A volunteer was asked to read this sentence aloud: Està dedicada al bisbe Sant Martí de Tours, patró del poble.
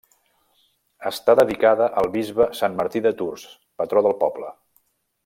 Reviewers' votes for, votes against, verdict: 2, 0, accepted